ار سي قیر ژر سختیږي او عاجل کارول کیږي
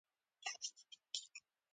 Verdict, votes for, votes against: rejected, 1, 2